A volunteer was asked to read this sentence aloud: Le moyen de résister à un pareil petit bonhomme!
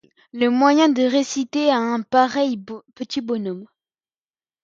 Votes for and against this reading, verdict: 1, 2, rejected